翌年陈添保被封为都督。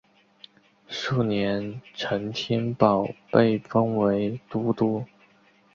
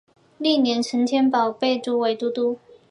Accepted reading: second